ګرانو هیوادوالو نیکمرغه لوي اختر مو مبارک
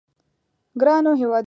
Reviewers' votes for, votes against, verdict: 0, 2, rejected